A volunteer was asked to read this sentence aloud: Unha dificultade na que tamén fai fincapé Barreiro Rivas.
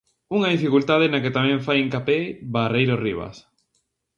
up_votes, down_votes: 0, 2